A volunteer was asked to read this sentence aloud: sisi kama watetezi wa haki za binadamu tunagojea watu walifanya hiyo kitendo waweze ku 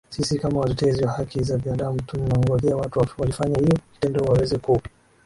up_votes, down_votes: 2, 0